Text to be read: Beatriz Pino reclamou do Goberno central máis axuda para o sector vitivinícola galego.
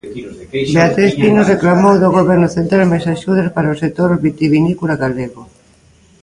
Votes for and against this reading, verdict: 0, 2, rejected